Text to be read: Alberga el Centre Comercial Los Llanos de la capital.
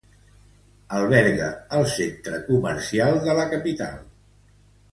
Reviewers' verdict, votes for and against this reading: rejected, 1, 2